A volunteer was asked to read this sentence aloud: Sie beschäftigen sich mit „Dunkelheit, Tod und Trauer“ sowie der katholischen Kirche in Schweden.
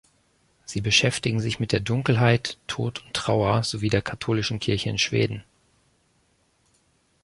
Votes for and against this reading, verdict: 0, 2, rejected